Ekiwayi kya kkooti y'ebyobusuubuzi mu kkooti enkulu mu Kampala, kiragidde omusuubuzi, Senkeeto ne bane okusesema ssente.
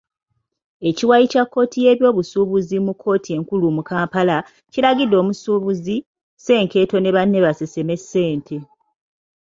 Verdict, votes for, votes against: rejected, 0, 2